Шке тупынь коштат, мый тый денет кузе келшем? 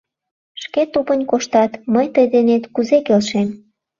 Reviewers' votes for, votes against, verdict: 2, 0, accepted